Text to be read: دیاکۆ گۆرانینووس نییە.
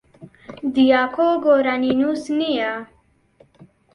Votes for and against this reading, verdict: 2, 0, accepted